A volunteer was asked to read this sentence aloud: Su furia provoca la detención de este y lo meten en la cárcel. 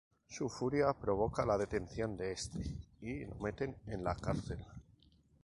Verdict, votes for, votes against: accepted, 2, 0